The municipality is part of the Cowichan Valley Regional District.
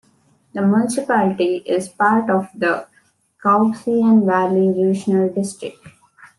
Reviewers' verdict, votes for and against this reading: rejected, 1, 2